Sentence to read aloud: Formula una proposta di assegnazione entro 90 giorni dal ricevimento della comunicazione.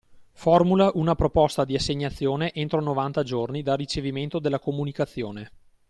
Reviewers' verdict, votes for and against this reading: rejected, 0, 2